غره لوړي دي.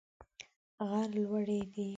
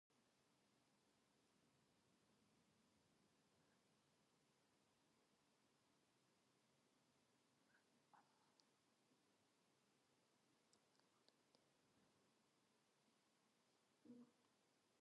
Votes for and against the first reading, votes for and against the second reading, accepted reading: 2, 0, 0, 2, first